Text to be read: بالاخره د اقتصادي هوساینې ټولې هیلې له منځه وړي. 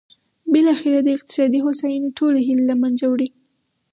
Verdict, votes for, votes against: accepted, 4, 0